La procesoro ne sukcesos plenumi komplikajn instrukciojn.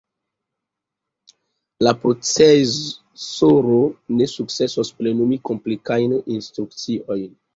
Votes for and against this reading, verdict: 0, 2, rejected